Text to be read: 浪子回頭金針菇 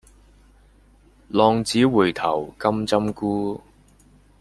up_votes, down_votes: 0, 2